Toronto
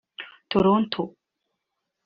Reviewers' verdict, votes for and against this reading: rejected, 0, 2